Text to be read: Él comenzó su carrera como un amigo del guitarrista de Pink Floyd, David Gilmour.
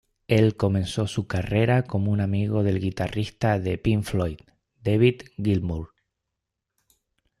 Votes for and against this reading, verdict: 2, 0, accepted